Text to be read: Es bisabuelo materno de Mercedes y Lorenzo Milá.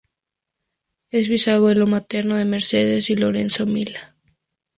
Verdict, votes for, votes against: rejected, 0, 2